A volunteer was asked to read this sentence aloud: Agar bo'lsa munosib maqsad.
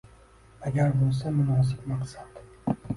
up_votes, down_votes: 2, 1